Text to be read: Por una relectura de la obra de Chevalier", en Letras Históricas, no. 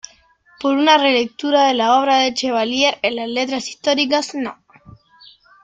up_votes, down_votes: 0, 2